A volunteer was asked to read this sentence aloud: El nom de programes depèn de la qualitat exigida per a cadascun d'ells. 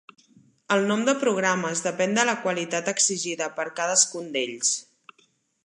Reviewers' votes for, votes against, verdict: 0, 5, rejected